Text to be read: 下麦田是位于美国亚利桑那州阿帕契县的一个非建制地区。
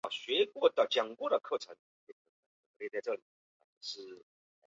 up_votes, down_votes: 1, 6